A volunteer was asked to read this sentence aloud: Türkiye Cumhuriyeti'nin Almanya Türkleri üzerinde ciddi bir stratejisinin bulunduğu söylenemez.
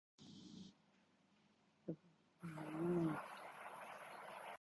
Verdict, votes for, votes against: rejected, 0, 2